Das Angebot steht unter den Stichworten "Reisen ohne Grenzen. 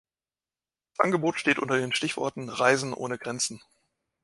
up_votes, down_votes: 1, 2